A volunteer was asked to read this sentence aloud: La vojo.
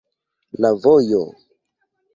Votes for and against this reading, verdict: 2, 1, accepted